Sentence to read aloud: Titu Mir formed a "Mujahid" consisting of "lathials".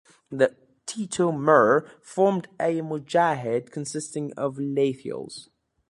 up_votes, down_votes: 2, 0